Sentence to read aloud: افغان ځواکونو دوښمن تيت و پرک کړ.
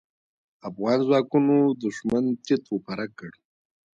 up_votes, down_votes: 1, 2